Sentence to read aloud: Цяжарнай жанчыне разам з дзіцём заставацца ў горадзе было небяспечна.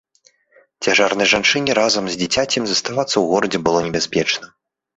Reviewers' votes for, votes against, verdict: 0, 2, rejected